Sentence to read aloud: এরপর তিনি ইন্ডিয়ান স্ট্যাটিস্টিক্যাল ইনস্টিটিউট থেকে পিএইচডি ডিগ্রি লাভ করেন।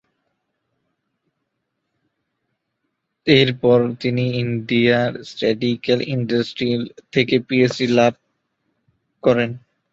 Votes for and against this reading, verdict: 0, 2, rejected